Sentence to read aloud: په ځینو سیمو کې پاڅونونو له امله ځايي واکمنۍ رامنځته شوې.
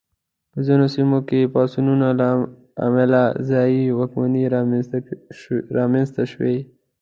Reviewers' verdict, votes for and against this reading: rejected, 0, 2